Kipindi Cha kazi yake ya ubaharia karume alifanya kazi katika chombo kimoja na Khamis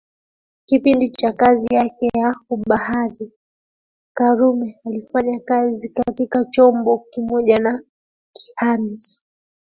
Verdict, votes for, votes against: accepted, 2, 0